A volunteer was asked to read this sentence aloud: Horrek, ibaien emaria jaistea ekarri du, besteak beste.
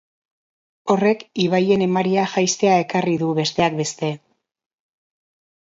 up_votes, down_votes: 2, 0